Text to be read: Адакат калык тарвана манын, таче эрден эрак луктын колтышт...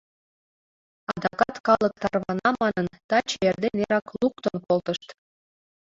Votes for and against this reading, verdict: 1, 2, rejected